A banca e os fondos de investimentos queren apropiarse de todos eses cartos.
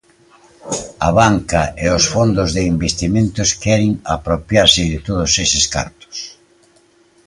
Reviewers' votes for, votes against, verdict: 2, 1, accepted